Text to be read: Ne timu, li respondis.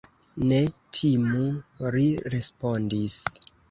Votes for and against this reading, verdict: 1, 2, rejected